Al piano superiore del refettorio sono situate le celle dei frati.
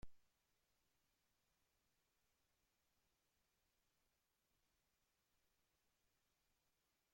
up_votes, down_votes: 0, 2